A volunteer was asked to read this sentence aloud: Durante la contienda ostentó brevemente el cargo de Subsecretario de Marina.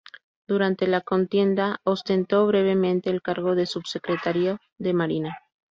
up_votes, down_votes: 4, 0